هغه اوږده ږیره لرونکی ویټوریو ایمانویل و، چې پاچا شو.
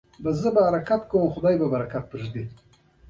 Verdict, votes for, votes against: rejected, 1, 2